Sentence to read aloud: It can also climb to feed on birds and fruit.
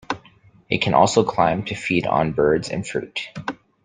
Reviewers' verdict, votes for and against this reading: accepted, 2, 0